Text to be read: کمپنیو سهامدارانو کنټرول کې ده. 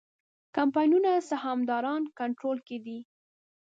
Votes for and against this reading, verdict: 1, 2, rejected